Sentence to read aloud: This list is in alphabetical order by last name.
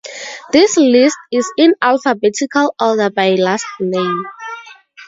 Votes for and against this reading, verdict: 2, 0, accepted